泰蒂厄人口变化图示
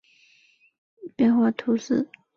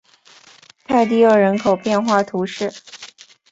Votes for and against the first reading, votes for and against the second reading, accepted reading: 1, 3, 4, 0, second